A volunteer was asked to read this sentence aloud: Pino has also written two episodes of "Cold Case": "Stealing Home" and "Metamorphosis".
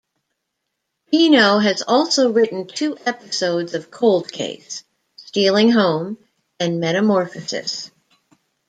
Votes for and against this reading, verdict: 2, 0, accepted